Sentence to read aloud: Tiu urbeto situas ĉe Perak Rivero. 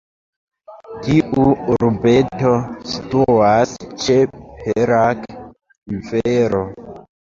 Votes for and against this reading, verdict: 1, 2, rejected